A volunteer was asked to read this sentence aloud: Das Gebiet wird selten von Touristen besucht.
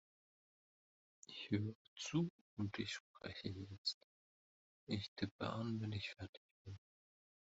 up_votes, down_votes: 0, 2